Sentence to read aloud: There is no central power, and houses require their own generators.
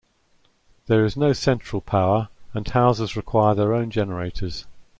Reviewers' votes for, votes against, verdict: 2, 1, accepted